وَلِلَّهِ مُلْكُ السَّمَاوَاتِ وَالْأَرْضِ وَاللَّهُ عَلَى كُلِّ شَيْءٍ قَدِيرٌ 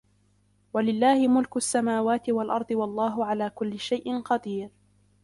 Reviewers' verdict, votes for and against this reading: accepted, 2, 0